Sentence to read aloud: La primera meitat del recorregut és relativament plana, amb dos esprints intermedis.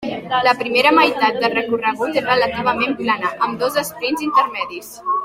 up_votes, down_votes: 2, 0